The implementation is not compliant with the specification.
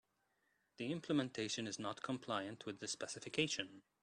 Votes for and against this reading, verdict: 3, 0, accepted